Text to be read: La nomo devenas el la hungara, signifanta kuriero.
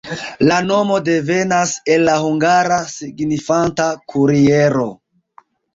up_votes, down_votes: 3, 1